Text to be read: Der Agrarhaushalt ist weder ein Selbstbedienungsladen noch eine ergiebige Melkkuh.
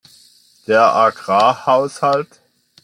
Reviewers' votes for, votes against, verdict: 0, 2, rejected